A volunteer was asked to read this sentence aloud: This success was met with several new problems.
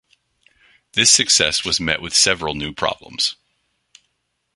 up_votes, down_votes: 2, 0